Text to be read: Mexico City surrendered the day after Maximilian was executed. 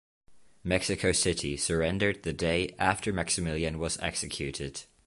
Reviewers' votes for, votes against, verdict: 2, 0, accepted